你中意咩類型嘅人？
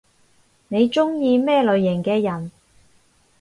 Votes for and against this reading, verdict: 0, 2, rejected